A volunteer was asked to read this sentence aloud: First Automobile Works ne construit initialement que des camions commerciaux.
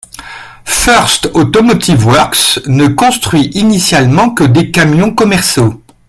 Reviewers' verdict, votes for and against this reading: rejected, 1, 3